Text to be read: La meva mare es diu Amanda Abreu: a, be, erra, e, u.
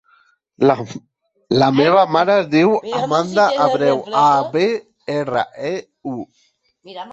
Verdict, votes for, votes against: rejected, 0, 2